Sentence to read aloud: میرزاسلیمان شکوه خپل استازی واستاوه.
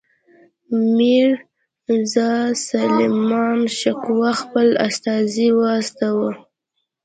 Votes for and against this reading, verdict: 2, 0, accepted